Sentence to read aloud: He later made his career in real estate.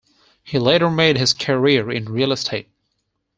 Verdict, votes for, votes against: accepted, 4, 0